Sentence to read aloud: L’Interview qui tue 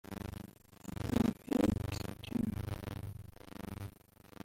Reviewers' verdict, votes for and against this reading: rejected, 0, 2